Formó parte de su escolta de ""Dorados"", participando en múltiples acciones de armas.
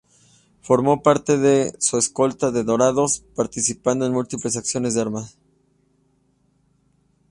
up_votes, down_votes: 3, 0